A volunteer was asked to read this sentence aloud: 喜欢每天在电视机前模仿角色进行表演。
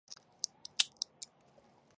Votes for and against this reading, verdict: 2, 7, rejected